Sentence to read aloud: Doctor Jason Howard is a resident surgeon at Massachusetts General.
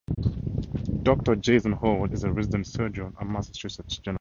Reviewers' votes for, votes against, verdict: 0, 2, rejected